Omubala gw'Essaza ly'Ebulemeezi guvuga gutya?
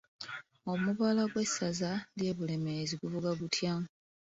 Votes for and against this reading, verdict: 1, 2, rejected